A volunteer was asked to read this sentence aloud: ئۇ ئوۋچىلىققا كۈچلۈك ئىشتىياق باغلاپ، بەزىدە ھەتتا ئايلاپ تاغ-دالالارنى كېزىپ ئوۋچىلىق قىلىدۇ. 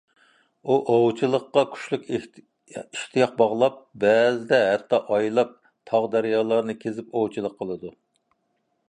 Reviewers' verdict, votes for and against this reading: rejected, 0, 2